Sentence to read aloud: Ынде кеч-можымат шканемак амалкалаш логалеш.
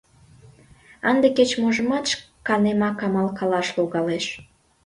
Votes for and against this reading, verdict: 2, 0, accepted